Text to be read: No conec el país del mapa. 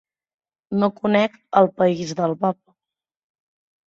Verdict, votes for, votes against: rejected, 1, 2